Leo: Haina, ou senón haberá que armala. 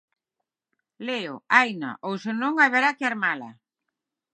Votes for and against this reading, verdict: 6, 0, accepted